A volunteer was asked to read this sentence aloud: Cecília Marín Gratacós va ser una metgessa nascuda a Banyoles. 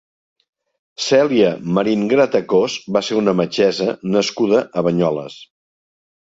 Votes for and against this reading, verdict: 0, 2, rejected